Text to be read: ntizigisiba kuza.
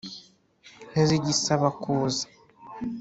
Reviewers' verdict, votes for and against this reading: rejected, 0, 2